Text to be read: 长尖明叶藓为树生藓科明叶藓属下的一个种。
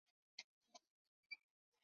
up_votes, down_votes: 0, 3